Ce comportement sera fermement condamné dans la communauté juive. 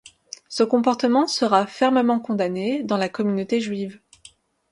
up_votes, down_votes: 2, 0